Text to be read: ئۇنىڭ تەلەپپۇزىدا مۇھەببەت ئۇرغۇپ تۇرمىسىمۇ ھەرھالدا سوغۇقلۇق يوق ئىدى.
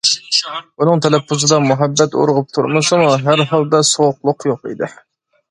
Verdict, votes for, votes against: accepted, 2, 0